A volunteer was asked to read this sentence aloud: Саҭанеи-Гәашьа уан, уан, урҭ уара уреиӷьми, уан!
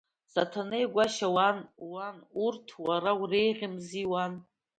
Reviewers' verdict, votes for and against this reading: accepted, 2, 0